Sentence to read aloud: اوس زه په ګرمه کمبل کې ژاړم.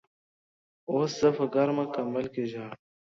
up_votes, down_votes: 2, 0